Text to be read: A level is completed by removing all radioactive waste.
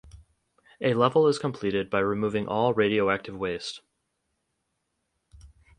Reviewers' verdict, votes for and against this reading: accepted, 4, 0